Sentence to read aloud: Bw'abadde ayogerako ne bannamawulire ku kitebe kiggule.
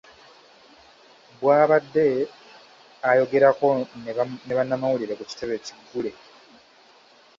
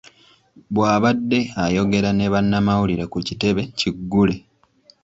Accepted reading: second